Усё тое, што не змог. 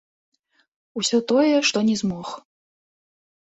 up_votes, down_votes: 2, 1